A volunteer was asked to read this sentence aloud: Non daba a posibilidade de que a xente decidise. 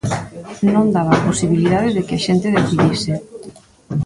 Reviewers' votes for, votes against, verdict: 1, 2, rejected